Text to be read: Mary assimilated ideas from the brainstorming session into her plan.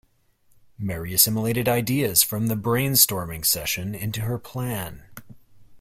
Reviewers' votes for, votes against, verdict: 2, 0, accepted